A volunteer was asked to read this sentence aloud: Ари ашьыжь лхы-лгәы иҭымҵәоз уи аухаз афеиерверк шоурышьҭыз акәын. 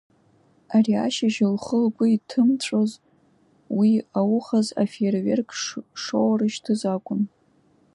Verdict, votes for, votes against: accepted, 2, 0